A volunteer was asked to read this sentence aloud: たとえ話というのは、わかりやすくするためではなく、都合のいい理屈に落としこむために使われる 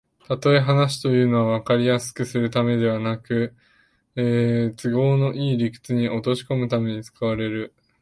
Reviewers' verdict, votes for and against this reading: rejected, 1, 2